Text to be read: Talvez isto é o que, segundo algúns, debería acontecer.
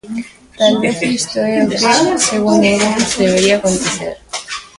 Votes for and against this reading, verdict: 0, 2, rejected